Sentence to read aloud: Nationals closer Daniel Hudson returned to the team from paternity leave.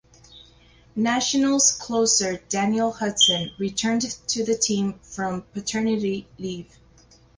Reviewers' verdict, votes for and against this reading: accepted, 2, 0